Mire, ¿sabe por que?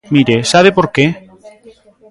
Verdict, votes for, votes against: rejected, 1, 2